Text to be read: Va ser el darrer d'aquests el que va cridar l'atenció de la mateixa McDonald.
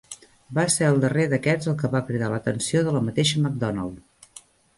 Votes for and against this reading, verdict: 3, 0, accepted